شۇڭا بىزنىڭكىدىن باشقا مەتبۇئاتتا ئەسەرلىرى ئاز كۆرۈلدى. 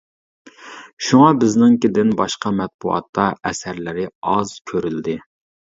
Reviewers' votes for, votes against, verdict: 2, 0, accepted